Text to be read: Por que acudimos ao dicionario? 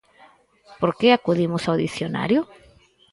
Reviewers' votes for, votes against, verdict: 4, 0, accepted